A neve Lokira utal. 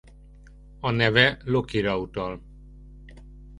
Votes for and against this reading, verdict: 2, 0, accepted